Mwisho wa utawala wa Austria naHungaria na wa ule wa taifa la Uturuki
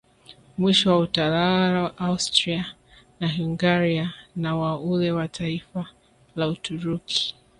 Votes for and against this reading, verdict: 0, 2, rejected